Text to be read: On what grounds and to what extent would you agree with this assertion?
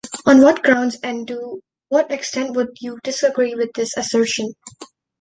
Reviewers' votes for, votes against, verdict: 0, 2, rejected